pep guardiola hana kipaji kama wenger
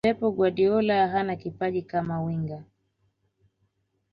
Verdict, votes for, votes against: accepted, 2, 1